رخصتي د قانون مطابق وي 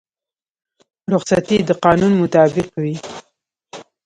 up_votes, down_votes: 2, 0